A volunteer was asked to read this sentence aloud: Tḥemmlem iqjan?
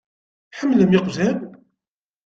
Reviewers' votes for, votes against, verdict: 2, 0, accepted